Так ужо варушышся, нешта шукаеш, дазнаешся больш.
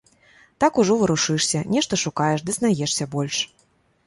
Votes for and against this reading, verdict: 1, 2, rejected